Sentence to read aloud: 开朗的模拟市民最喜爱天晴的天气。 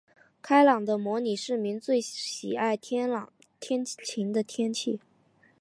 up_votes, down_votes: 2, 0